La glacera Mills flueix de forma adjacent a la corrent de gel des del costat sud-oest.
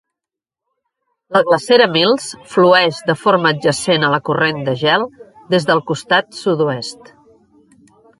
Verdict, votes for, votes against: rejected, 1, 2